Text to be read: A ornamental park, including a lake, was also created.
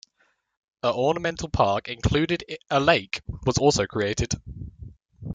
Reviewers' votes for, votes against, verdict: 0, 2, rejected